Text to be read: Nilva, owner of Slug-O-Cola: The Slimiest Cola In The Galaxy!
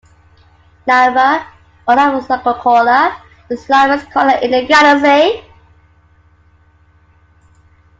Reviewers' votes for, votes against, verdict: 1, 2, rejected